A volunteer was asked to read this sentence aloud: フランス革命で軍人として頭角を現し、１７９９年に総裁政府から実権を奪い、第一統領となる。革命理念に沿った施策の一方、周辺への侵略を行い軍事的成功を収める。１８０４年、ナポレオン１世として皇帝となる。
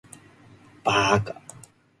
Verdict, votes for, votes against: rejected, 0, 2